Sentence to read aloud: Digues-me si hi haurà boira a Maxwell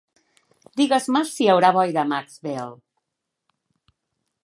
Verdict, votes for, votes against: accepted, 2, 0